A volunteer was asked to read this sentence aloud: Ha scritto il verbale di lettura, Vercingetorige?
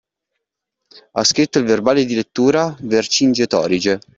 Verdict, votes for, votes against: accepted, 2, 0